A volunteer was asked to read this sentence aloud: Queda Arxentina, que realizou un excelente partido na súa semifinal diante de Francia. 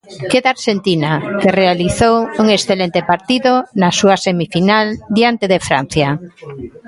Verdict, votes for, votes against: accepted, 2, 0